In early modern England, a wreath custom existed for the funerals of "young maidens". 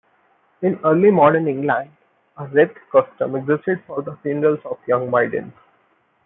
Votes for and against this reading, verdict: 1, 2, rejected